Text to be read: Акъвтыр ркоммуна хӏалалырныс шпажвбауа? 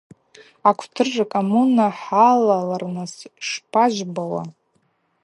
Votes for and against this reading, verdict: 4, 0, accepted